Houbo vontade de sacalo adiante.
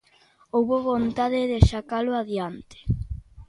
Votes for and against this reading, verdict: 2, 0, accepted